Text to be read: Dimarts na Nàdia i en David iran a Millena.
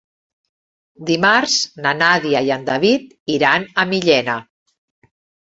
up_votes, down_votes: 3, 0